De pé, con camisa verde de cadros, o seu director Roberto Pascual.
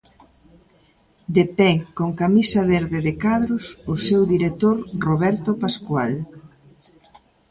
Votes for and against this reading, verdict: 2, 0, accepted